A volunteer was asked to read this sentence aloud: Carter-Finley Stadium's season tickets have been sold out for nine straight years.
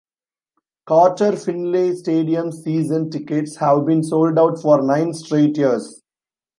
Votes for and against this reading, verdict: 2, 0, accepted